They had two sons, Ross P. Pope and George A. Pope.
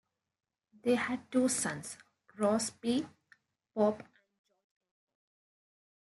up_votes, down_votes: 1, 2